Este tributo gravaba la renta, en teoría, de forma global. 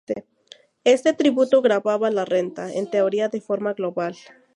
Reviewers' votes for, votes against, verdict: 2, 0, accepted